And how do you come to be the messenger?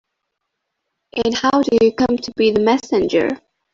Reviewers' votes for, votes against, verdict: 1, 2, rejected